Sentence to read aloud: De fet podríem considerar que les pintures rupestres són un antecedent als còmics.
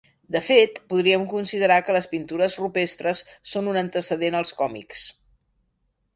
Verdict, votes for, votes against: accepted, 2, 0